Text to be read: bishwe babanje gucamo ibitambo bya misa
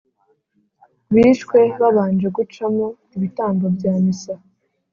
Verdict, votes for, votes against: accepted, 3, 0